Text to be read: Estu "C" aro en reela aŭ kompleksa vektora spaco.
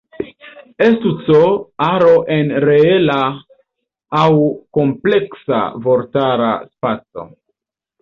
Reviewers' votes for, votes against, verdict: 1, 2, rejected